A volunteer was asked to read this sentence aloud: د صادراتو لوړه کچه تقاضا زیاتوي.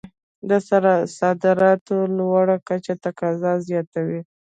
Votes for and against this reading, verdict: 2, 0, accepted